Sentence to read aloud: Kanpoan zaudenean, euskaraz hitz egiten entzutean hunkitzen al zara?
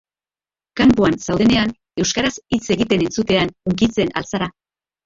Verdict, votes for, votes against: rejected, 1, 2